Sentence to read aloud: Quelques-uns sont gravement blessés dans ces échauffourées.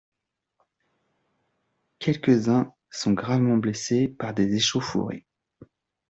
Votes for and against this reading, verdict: 1, 2, rejected